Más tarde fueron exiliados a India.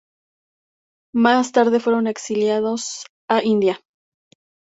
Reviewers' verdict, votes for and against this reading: accepted, 2, 0